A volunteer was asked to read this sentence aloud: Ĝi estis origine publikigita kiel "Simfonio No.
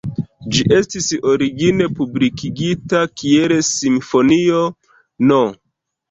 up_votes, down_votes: 2, 0